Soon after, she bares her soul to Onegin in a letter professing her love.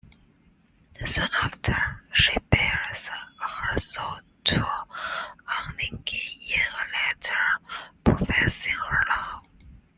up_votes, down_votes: 2, 0